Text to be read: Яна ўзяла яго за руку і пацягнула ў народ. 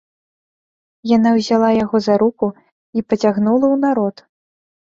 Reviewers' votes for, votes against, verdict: 2, 0, accepted